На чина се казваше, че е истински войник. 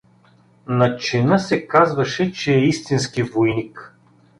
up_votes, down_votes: 2, 0